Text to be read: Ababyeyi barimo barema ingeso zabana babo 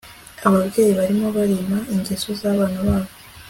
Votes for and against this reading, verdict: 3, 0, accepted